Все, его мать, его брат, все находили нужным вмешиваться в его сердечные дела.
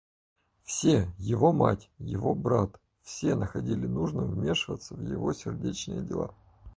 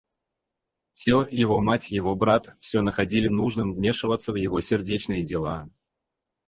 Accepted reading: first